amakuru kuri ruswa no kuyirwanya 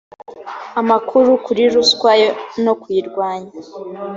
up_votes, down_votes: 2, 0